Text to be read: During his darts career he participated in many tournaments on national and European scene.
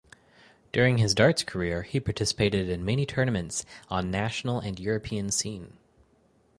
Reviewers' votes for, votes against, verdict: 4, 0, accepted